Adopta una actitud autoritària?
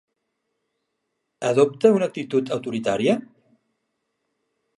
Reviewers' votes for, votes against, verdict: 0, 2, rejected